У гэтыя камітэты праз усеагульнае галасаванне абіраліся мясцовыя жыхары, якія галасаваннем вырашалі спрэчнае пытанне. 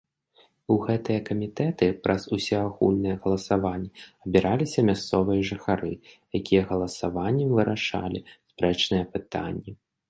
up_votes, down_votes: 3, 1